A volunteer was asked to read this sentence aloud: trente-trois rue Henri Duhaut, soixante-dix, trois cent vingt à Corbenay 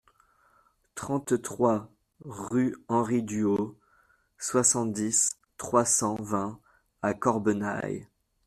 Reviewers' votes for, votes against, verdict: 1, 2, rejected